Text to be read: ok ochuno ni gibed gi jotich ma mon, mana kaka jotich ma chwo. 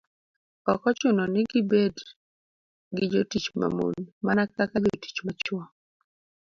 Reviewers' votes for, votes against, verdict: 2, 0, accepted